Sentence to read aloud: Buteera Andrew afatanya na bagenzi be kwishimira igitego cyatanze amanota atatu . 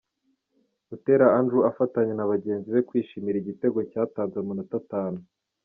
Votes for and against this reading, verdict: 1, 2, rejected